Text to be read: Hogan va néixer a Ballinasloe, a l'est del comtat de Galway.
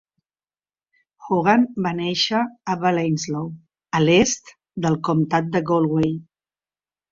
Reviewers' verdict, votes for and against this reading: rejected, 1, 2